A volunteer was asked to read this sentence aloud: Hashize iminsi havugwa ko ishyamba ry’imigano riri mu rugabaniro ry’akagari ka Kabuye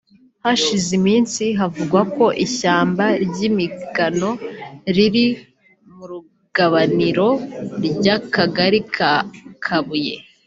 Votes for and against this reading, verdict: 2, 1, accepted